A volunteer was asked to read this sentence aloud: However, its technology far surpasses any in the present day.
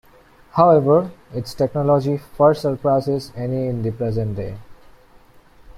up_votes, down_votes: 2, 1